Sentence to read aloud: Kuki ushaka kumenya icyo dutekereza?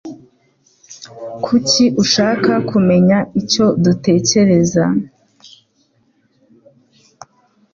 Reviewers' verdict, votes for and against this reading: accepted, 2, 0